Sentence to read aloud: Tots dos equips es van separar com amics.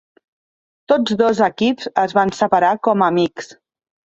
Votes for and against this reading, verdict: 3, 0, accepted